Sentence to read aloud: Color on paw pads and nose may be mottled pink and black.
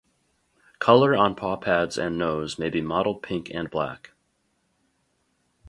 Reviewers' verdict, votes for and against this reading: rejected, 2, 2